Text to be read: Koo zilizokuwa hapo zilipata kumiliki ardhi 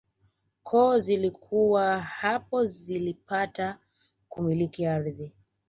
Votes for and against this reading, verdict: 2, 1, accepted